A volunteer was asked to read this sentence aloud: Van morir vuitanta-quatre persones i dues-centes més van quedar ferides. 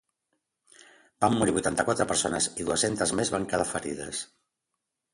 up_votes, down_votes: 2, 0